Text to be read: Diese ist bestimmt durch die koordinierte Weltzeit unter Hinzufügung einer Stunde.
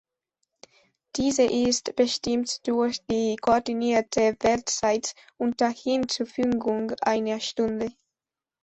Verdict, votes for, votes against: accepted, 2, 0